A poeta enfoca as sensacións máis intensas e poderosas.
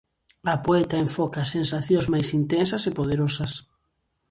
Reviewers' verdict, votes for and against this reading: accepted, 2, 0